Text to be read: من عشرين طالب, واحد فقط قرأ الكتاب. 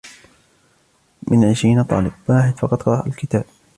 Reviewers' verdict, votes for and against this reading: accepted, 2, 1